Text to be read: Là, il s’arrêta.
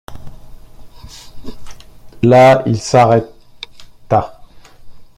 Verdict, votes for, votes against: rejected, 1, 2